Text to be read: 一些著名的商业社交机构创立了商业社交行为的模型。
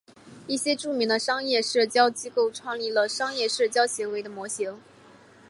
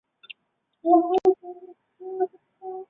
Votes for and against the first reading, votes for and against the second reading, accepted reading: 4, 0, 0, 3, first